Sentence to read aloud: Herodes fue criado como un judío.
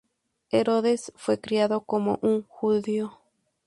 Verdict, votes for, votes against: rejected, 0, 2